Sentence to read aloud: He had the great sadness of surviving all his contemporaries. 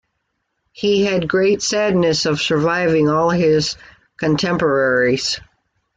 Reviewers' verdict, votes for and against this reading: accepted, 2, 0